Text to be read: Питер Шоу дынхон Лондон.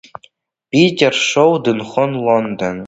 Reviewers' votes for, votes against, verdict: 1, 2, rejected